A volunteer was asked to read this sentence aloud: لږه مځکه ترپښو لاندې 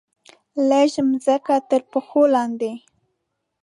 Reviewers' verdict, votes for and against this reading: accepted, 2, 0